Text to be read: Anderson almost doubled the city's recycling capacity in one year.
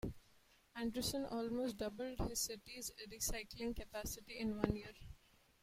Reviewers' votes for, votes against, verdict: 2, 0, accepted